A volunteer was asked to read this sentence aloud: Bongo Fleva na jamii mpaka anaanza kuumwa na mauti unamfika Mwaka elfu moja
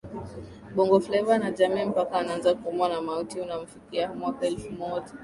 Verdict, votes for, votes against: accepted, 19, 0